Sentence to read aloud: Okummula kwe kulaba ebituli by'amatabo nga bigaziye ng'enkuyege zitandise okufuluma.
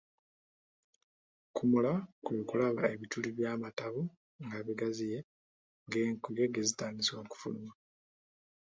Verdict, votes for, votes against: rejected, 1, 2